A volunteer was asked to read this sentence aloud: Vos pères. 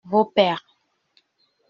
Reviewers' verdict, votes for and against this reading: accepted, 2, 0